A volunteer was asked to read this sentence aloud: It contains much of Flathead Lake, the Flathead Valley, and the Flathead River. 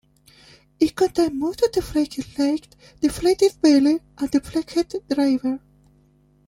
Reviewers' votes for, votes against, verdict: 0, 2, rejected